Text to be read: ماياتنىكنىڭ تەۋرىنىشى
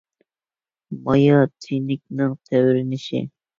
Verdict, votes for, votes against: rejected, 0, 2